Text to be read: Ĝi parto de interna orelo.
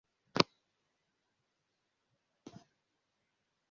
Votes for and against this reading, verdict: 0, 2, rejected